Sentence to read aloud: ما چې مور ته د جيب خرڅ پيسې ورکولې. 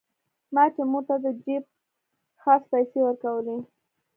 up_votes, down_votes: 2, 1